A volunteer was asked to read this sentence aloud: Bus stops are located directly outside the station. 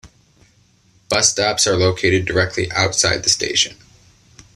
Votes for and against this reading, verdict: 2, 0, accepted